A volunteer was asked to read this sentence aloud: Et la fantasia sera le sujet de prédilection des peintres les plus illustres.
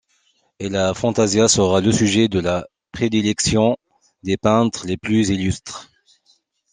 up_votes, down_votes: 0, 2